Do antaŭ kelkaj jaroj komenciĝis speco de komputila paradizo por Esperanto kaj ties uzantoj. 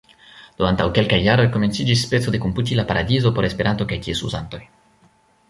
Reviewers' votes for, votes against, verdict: 2, 1, accepted